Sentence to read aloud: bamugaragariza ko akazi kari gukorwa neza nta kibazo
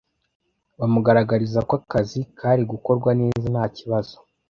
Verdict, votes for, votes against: accepted, 2, 0